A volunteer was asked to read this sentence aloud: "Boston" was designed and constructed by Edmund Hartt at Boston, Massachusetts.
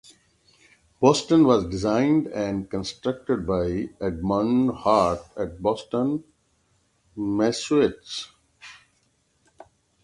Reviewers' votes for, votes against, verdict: 3, 6, rejected